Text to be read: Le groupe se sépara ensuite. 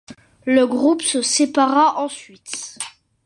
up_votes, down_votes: 2, 0